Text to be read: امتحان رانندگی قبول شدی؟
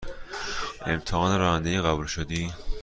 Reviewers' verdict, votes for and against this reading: accepted, 2, 0